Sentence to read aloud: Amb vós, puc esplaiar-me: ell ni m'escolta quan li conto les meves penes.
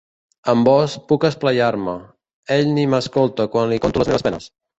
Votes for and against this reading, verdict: 0, 2, rejected